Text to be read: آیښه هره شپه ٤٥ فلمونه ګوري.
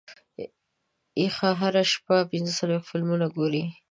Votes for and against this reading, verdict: 0, 2, rejected